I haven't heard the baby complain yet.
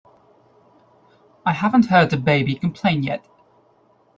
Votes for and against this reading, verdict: 2, 0, accepted